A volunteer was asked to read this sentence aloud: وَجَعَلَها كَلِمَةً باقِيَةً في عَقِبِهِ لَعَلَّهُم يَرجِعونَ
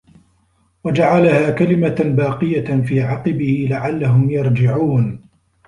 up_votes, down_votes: 2, 1